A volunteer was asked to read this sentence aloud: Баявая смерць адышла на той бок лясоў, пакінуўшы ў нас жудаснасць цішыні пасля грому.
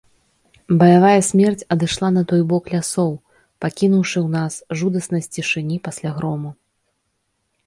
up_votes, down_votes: 2, 0